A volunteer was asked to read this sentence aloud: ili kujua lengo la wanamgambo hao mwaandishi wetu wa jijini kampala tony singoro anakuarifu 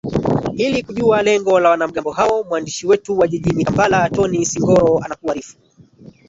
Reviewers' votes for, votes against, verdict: 1, 2, rejected